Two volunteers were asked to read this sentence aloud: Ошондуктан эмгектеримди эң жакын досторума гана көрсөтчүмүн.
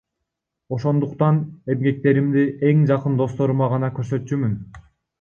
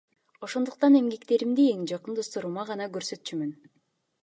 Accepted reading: second